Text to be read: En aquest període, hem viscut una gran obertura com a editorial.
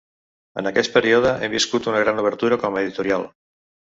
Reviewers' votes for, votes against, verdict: 2, 0, accepted